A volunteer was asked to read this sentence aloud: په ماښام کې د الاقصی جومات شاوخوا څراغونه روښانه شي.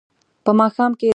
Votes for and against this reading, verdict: 0, 2, rejected